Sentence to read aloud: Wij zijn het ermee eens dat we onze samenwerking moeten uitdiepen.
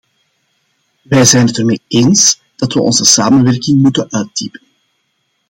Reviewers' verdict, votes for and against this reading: accepted, 2, 0